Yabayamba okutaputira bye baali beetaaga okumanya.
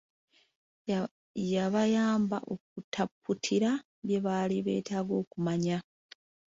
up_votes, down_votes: 2, 1